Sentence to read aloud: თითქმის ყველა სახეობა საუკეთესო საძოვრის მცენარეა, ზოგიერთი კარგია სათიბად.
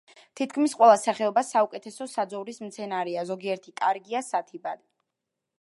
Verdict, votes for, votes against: accepted, 2, 0